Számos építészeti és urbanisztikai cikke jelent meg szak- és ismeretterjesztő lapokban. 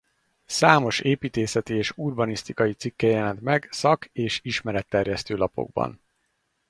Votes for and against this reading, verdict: 4, 0, accepted